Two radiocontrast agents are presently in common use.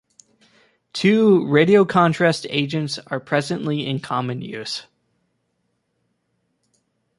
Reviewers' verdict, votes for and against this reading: accepted, 2, 0